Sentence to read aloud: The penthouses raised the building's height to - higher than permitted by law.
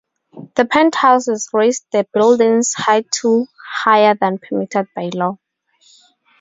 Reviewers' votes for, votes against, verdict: 4, 0, accepted